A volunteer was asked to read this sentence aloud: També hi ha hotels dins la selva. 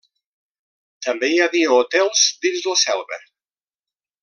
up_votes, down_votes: 1, 2